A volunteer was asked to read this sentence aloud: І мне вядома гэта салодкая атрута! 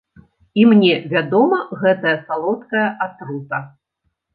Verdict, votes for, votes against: accepted, 2, 0